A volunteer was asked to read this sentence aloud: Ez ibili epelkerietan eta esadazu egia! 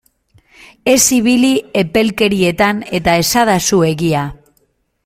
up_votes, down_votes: 2, 0